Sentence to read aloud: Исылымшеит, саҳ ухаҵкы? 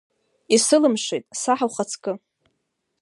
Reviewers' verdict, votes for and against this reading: accepted, 2, 1